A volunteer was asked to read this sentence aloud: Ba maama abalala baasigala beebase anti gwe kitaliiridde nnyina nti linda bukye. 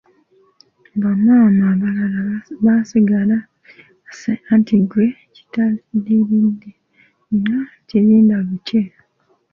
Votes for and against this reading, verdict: 0, 2, rejected